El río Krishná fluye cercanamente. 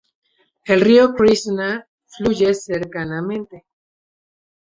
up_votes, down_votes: 2, 0